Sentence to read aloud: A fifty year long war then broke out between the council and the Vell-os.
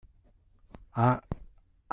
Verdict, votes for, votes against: rejected, 0, 2